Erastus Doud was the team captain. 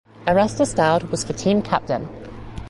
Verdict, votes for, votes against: accepted, 2, 0